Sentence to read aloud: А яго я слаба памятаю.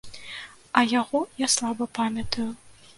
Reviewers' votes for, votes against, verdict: 2, 0, accepted